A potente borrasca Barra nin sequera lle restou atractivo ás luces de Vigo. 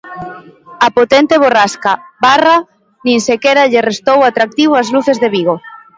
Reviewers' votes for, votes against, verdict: 0, 2, rejected